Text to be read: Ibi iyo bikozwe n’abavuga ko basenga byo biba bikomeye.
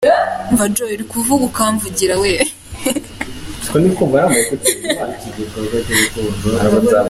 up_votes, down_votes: 0, 2